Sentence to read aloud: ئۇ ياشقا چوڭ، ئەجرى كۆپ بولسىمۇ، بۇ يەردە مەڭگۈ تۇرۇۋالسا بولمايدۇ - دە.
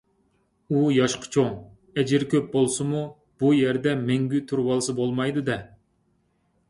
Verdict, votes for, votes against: accepted, 2, 0